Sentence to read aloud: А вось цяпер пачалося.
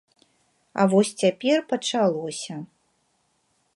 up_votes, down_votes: 2, 0